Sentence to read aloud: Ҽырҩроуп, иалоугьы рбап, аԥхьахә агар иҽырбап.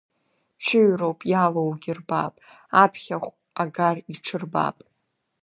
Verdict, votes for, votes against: rejected, 1, 2